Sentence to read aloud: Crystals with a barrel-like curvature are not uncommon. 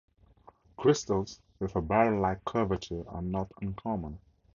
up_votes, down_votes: 2, 0